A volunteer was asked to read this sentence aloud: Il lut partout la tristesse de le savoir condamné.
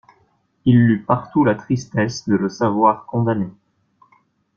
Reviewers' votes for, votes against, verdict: 2, 0, accepted